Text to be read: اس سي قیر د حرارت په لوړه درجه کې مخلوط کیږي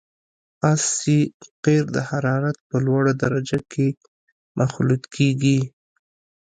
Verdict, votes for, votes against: accepted, 2, 0